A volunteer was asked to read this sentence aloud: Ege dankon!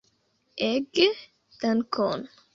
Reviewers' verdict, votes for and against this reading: accepted, 2, 0